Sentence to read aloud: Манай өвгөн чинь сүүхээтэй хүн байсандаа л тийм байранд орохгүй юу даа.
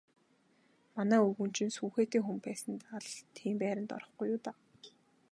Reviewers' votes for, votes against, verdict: 4, 0, accepted